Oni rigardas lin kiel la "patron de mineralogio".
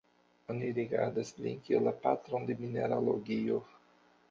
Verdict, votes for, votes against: rejected, 0, 2